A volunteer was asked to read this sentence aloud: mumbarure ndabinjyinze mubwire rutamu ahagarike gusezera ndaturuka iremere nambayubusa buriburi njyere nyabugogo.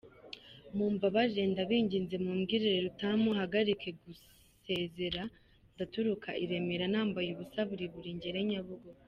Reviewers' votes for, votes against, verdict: 3, 4, rejected